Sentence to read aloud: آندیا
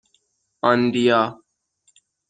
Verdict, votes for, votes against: accepted, 6, 0